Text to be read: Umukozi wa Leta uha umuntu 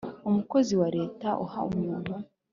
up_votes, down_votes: 3, 0